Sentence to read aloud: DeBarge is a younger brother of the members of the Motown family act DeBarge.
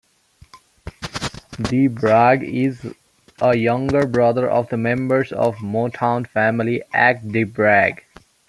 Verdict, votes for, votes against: rejected, 0, 2